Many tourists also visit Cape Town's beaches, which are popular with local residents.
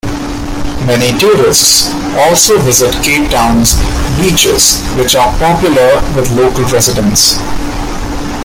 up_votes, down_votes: 3, 2